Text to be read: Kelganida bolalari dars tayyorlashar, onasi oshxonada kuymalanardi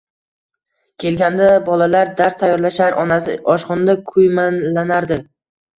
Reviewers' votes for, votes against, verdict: 1, 2, rejected